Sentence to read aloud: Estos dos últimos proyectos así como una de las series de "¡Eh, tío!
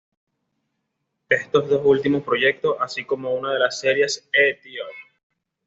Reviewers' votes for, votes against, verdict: 2, 0, accepted